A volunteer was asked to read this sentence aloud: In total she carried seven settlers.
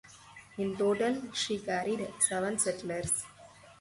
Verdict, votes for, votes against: accepted, 6, 2